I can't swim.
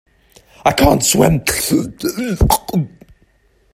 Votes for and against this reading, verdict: 0, 2, rejected